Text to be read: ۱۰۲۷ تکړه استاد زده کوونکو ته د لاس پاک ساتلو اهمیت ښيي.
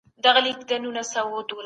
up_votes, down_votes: 0, 2